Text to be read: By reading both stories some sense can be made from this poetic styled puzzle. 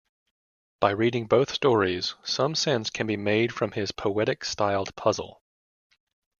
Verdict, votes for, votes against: rejected, 1, 2